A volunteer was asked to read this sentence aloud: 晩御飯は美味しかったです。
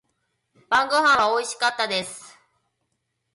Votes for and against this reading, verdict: 4, 2, accepted